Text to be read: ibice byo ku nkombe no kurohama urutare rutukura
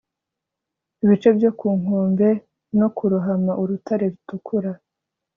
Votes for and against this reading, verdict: 1, 2, rejected